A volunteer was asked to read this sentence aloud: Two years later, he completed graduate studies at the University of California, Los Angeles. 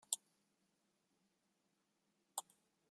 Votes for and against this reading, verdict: 0, 2, rejected